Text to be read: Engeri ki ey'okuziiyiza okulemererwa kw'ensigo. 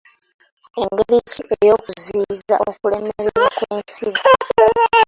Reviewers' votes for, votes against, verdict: 2, 1, accepted